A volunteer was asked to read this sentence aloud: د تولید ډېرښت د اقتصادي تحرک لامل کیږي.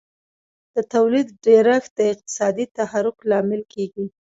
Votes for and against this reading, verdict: 2, 0, accepted